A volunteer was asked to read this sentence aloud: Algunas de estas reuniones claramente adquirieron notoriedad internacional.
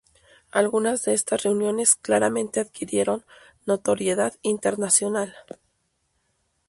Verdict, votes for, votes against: accepted, 2, 0